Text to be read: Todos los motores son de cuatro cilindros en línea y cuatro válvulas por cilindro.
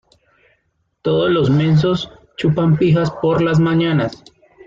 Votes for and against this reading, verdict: 0, 2, rejected